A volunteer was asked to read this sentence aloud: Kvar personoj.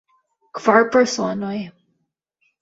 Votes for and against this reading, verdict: 1, 2, rejected